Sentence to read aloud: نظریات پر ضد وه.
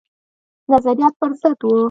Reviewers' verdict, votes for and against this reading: accepted, 2, 0